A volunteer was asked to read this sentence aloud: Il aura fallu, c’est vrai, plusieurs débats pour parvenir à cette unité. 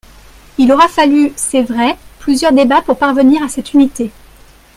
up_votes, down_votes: 1, 2